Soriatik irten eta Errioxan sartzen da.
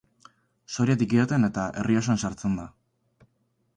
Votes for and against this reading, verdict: 2, 4, rejected